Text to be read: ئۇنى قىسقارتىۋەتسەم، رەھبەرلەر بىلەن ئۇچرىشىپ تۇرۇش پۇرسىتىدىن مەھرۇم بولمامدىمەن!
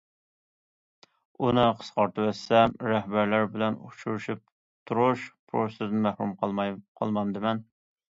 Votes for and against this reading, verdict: 0, 2, rejected